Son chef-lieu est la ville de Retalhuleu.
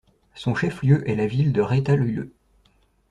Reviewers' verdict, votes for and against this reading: accepted, 2, 0